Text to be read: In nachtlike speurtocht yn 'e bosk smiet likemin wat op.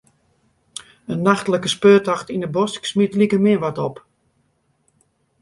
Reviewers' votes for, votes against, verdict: 2, 1, accepted